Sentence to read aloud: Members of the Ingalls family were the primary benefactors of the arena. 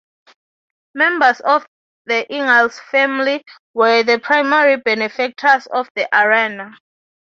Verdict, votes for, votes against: rejected, 3, 3